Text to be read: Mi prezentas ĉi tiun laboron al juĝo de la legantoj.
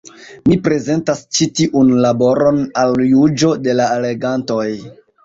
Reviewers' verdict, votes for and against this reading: accepted, 2, 1